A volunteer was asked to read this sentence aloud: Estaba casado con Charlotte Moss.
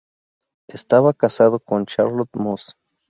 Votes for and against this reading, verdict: 2, 0, accepted